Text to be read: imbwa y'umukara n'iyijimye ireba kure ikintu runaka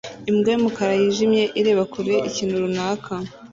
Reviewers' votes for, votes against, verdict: 1, 2, rejected